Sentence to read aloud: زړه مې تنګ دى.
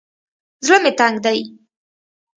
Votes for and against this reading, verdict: 2, 0, accepted